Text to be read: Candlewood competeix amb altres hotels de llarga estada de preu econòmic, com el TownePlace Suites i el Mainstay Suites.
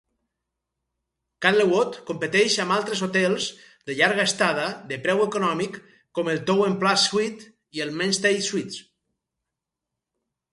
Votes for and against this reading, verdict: 2, 2, rejected